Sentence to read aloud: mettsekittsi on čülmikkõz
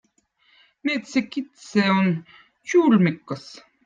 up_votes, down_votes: 2, 0